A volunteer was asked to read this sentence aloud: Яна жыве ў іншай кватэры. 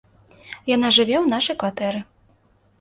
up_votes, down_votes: 0, 2